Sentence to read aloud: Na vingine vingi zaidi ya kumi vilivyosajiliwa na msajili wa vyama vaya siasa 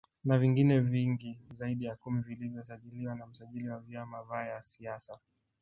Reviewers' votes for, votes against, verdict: 0, 2, rejected